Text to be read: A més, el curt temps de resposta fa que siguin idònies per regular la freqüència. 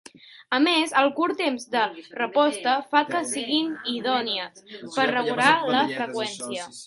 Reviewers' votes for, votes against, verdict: 1, 2, rejected